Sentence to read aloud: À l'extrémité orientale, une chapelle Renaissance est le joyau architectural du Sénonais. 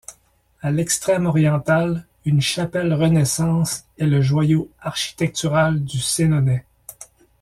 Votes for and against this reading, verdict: 1, 2, rejected